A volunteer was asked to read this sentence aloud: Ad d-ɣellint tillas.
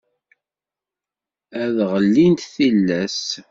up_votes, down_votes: 1, 2